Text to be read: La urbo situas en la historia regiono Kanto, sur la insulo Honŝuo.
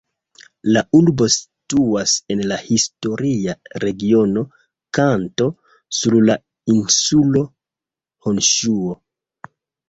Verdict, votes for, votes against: accepted, 2, 0